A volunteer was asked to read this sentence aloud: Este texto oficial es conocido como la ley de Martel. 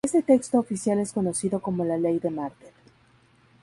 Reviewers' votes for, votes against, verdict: 0, 2, rejected